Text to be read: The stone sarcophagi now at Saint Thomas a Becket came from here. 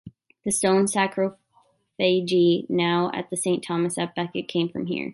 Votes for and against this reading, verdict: 1, 2, rejected